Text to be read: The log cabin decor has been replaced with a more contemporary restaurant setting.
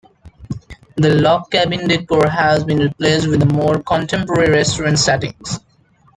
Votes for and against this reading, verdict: 2, 0, accepted